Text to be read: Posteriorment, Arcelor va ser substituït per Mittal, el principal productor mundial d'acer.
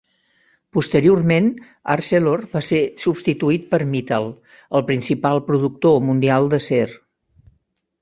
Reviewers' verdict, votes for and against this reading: accepted, 2, 0